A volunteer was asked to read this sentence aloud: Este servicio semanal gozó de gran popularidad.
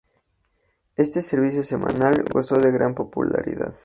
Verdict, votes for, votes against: accepted, 2, 0